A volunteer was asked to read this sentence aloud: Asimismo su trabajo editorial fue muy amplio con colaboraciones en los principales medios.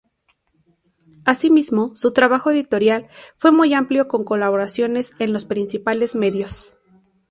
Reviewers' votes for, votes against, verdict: 0, 2, rejected